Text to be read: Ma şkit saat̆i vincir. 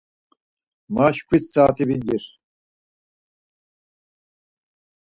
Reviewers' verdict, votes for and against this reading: rejected, 2, 4